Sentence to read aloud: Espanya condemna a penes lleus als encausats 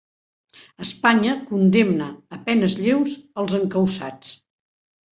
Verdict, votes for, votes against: accepted, 4, 1